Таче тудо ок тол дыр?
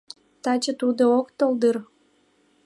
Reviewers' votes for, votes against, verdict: 2, 1, accepted